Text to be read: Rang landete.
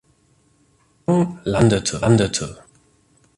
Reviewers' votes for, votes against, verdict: 0, 2, rejected